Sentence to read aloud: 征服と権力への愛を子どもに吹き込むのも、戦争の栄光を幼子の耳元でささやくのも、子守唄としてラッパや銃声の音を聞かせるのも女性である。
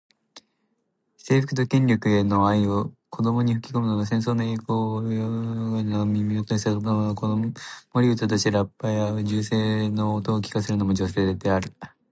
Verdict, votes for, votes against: rejected, 0, 2